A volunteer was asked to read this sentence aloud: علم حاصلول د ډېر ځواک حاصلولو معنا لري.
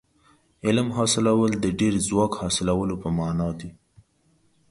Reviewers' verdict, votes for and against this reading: rejected, 0, 2